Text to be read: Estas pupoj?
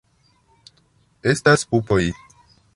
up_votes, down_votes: 1, 2